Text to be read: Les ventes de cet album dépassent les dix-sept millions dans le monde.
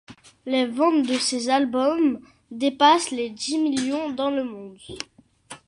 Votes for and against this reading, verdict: 1, 2, rejected